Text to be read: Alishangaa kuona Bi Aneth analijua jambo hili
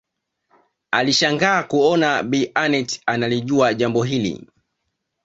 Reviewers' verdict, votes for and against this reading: accepted, 2, 0